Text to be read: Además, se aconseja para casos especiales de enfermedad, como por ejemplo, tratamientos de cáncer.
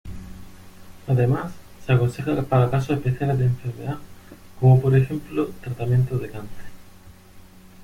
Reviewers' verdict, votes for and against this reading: accepted, 2, 0